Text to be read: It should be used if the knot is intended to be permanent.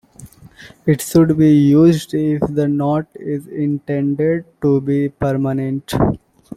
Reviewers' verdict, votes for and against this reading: rejected, 0, 2